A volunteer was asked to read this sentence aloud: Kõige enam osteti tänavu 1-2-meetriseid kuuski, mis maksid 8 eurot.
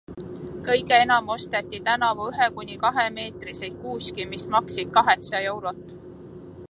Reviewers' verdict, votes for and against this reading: rejected, 0, 2